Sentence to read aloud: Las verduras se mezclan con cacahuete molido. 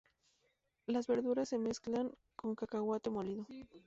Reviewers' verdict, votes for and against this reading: accepted, 2, 0